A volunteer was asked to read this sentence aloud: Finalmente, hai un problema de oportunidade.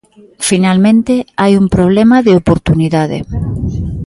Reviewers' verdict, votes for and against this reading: accepted, 2, 0